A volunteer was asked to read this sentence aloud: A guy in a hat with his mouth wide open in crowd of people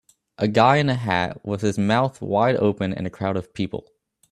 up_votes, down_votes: 0, 2